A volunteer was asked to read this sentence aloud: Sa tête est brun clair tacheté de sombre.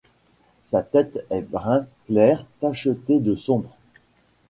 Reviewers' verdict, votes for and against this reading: accepted, 2, 1